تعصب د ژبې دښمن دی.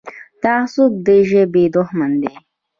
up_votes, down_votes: 1, 2